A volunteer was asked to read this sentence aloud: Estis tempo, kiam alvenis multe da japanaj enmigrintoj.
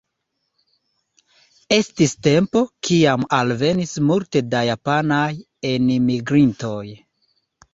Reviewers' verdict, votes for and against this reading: accepted, 2, 0